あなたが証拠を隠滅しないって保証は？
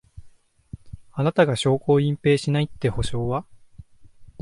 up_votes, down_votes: 1, 2